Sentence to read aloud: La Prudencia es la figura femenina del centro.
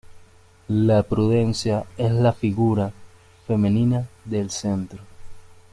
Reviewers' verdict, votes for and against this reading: accepted, 2, 0